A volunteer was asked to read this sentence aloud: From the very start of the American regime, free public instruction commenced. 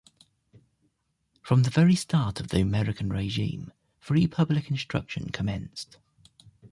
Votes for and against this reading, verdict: 2, 0, accepted